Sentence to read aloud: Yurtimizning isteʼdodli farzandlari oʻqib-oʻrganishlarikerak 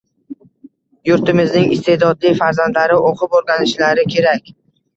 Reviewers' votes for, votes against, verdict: 2, 0, accepted